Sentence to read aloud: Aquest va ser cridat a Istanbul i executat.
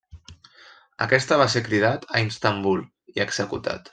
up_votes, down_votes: 0, 2